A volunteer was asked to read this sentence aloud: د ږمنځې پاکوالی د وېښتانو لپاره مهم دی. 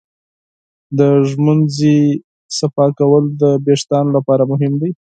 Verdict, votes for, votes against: rejected, 2, 4